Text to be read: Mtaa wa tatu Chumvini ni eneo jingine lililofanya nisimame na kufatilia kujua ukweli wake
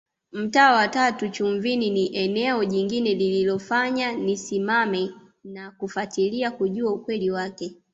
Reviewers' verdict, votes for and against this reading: accepted, 2, 0